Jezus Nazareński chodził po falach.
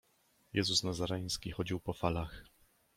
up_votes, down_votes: 2, 0